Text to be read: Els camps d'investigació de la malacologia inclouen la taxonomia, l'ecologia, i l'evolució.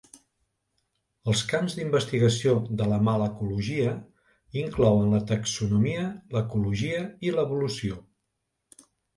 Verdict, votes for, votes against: accepted, 2, 0